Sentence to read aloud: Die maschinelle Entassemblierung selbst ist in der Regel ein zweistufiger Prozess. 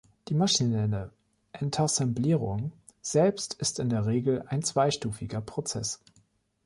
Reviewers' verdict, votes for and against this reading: rejected, 1, 2